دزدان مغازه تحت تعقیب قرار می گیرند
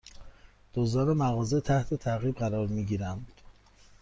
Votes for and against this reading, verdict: 2, 0, accepted